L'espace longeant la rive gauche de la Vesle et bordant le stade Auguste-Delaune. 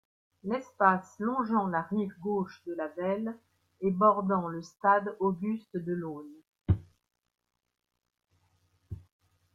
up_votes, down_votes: 2, 0